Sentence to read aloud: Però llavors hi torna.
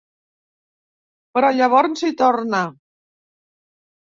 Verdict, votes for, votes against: rejected, 1, 2